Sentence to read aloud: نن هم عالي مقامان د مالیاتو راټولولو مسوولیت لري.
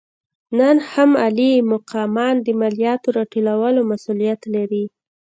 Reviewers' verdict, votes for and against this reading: rejected, 1, 2